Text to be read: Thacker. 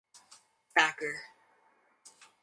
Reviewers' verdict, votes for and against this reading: accepted, 4, 0